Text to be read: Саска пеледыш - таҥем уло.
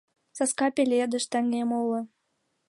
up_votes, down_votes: 2, 0